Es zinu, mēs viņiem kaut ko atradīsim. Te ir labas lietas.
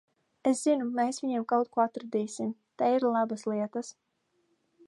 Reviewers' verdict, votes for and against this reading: accepted, 2, 0